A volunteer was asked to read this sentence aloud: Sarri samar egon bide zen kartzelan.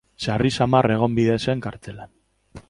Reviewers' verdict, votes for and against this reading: accepted, 2, 0